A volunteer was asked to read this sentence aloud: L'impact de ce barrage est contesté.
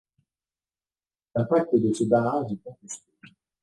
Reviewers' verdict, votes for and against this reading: rejected, 0, 2